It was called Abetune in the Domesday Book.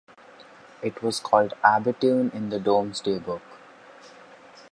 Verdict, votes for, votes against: rejected, 1, 2